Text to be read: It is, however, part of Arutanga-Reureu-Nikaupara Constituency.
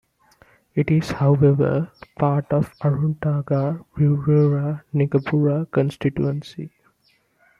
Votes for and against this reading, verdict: 0, 2, rejected